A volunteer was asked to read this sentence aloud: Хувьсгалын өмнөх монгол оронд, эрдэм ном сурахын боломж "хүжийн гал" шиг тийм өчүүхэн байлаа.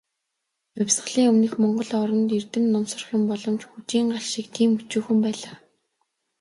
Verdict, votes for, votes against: accepted, 2, 1